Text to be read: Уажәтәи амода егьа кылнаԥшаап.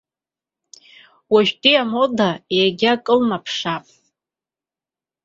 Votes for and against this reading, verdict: 2, 0, accepted